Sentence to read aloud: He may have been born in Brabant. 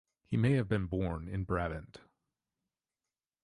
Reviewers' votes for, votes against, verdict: 1, 2, rejected